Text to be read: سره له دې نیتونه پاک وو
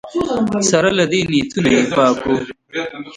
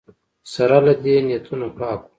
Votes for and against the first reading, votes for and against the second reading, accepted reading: 2, 1, 0, 2, first